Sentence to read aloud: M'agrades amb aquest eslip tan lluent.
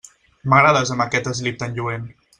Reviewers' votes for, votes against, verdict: 2, 0, accepted